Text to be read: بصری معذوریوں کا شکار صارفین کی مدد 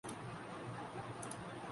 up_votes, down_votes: 0, 2